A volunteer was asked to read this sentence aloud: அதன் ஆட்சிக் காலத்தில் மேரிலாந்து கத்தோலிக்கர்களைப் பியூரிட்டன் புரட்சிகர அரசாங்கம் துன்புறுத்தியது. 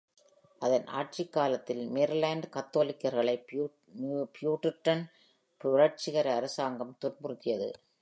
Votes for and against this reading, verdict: 0, 2, rejected